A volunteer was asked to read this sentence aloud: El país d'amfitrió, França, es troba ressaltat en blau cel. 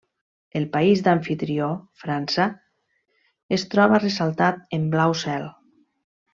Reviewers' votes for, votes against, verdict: 2, 0, accepted